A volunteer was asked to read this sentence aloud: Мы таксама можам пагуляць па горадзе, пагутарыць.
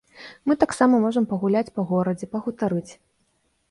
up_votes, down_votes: 1, 2